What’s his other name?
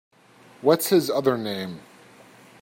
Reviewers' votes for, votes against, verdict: 2, 0, accepted